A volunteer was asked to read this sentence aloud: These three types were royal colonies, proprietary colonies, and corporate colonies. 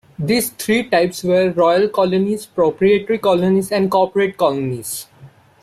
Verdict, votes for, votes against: rejected, 0, 3